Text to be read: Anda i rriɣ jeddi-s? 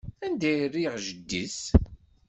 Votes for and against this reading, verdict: 2, 0, accepted